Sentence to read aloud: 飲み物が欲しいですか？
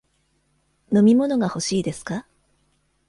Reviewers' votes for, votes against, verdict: 2, 0, accepted